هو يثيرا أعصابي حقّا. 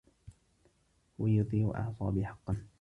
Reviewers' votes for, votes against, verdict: 0, 2, rejected